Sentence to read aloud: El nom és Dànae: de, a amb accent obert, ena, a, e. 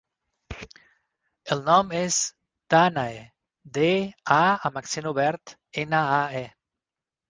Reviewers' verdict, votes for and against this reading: accepted, 6, 0